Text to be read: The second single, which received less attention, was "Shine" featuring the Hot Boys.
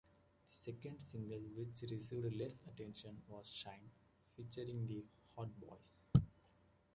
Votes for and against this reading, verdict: 2, 1, accepted